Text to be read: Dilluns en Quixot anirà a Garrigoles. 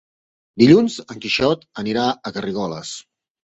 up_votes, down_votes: 2, 1